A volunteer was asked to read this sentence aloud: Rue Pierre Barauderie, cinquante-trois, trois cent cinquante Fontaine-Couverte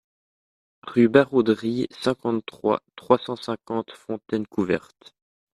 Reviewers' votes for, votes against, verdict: 0, 2, rejected